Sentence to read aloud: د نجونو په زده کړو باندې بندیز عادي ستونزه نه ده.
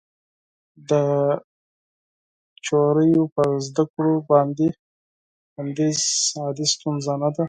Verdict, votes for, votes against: rejected, 2, 4